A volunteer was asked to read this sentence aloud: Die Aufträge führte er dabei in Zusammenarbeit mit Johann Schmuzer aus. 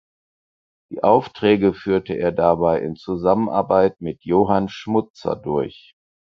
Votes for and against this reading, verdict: 2, 4, rejected